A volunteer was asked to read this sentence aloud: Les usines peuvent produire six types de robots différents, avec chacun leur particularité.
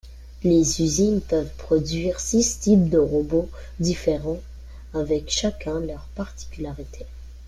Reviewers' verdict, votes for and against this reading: rejected, 1, 2